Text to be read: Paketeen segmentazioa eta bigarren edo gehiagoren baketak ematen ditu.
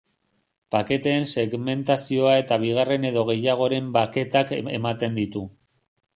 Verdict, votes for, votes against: rejected, 1, 2